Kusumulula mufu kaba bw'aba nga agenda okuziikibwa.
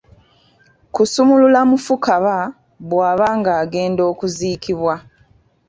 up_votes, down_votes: 2, 0